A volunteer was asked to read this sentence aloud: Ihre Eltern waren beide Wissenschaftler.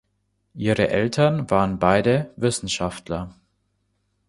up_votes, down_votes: 2, 0